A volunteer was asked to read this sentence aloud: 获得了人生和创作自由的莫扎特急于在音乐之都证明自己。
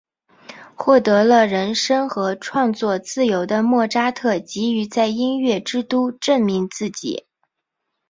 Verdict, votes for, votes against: accepted, 2, 0